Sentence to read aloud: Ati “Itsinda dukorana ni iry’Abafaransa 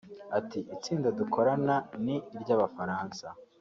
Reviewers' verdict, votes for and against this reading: rejected, 1, 2